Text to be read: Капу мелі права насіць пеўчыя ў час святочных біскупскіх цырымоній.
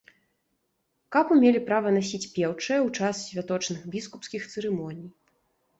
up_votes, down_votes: 2, 0